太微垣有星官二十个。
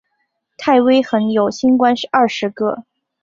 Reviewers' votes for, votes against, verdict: 1, 2, rejected